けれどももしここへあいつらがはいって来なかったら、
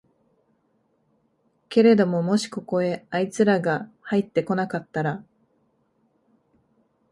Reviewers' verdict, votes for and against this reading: accepted, 2, 0